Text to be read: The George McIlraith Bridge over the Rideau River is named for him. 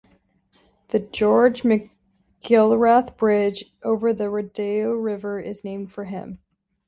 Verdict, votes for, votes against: rejected, 1, 2